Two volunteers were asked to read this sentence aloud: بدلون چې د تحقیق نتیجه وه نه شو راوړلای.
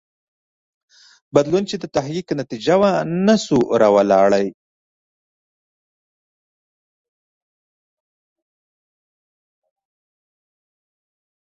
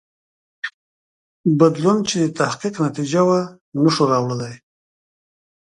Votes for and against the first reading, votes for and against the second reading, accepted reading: 1, 2, 2, 1, second